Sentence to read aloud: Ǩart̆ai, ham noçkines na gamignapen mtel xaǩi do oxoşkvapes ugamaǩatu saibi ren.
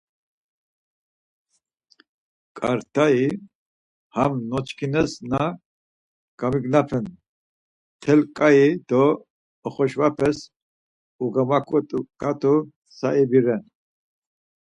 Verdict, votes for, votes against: rejected, 0, 4